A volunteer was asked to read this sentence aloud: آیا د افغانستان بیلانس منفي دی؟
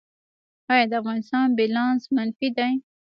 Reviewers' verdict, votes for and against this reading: rejected, 1, 2